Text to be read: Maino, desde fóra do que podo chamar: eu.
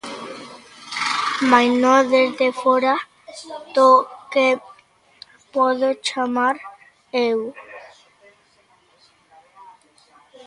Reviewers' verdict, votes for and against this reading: rejected, 1, 2